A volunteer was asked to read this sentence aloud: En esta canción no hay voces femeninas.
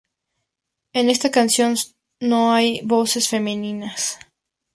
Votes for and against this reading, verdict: 2, 2, rejected